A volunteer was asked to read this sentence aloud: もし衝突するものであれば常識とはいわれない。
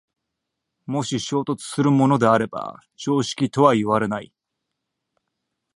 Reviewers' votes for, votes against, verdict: 1, 2, rejected